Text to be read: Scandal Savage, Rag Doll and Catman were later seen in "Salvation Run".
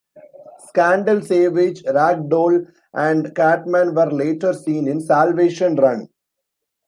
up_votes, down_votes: 0, 2